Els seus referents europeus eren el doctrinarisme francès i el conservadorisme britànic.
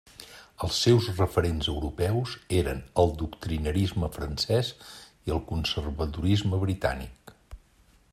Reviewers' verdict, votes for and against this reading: accepted, 2, 0